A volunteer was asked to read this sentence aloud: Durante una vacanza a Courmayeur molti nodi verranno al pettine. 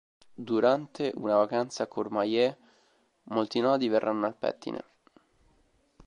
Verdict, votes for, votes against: rejected, 1, 2